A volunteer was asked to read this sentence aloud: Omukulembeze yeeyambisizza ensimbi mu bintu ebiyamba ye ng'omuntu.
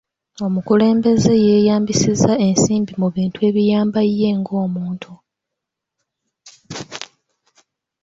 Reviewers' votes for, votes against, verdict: 1, 2, rejected